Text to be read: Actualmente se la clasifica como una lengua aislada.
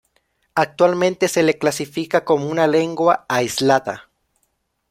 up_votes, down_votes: 0, 2